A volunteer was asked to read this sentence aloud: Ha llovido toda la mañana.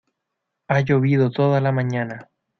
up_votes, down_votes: 2, 0